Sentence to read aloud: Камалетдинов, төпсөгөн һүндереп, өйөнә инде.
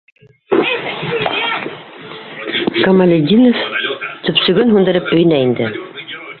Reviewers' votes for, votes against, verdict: 1, 2, rejected